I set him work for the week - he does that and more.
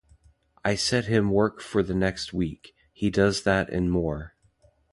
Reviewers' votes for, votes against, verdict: 1, 2, rejected